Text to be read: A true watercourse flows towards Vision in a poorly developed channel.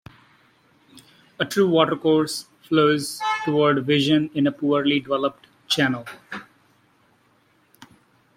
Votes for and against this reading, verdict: 0, 2, rejected